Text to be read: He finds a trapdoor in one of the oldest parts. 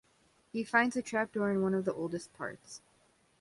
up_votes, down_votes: 2, 0